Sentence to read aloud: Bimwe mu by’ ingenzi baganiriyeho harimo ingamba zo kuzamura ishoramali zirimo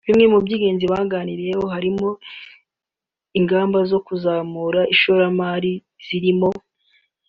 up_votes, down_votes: 3, 0